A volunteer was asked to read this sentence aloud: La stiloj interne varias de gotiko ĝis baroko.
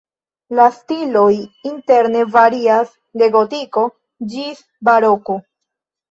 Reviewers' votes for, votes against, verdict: 2, 0, accepted